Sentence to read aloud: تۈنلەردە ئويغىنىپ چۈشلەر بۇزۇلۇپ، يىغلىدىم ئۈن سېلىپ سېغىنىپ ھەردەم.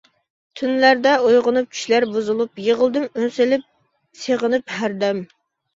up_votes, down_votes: 2, 0